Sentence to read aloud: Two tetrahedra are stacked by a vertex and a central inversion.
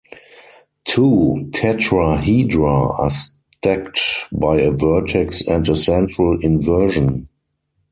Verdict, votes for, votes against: accepted, 4, 2